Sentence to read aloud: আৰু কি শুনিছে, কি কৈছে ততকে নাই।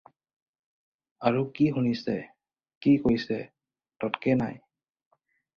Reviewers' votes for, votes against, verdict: 2, 2, rejected